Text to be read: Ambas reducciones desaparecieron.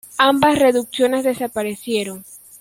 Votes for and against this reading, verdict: 2, 0, accepted